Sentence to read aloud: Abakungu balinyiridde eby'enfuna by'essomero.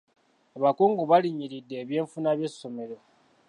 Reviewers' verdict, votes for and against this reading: accepted, 2, 1